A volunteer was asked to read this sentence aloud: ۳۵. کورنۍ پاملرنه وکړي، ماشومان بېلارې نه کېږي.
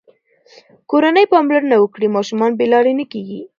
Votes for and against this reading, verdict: 0, 2, rejected